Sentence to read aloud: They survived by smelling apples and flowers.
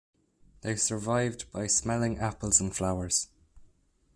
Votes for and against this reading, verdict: 1, 2, rejected